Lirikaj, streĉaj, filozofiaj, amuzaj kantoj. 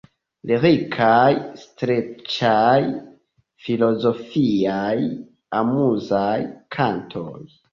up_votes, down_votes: 2, 1